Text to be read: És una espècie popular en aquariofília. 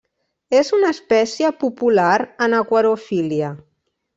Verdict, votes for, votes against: rejected, 0, 2